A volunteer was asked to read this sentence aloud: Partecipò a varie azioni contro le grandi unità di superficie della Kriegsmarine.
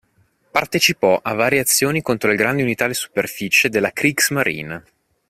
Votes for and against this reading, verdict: 2, 0, accepted